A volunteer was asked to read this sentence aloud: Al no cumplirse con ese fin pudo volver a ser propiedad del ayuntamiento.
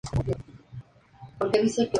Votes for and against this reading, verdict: 2, 2, rejected